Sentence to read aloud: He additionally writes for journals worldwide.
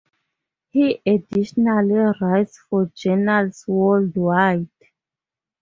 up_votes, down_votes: 2, 2